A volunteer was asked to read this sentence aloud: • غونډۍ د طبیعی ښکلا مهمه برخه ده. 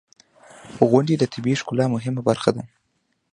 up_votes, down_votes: 1, 2